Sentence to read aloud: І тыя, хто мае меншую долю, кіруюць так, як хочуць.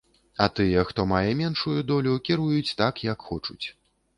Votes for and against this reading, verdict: 2, 3, rejected